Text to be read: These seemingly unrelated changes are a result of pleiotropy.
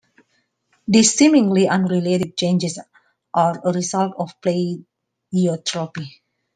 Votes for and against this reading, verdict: 2, 1, accepted